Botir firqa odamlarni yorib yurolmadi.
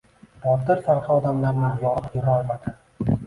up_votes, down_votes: 0, 2